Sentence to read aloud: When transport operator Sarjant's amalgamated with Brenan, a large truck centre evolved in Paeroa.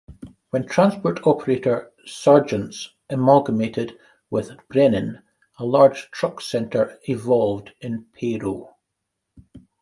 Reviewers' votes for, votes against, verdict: 1, 2, rejected